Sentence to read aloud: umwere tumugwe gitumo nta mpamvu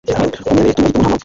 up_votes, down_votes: 1, 2